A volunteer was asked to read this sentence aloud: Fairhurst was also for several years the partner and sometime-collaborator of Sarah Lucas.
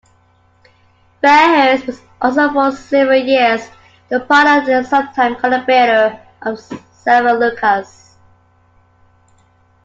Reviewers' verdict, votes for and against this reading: rejected, 0, 2